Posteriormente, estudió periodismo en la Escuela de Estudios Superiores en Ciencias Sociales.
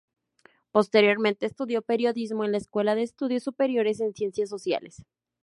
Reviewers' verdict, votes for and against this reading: accepted, 2, 0